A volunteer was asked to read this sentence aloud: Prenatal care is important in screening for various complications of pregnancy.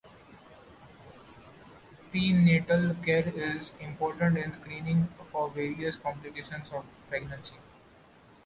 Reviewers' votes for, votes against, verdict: 2, 0, accepted